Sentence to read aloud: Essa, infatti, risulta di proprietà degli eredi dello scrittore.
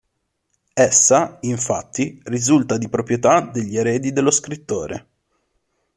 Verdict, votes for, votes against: accepted, 2, 0